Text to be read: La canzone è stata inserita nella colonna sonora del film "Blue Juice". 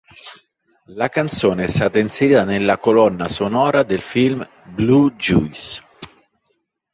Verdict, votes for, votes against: accepted, 2, 0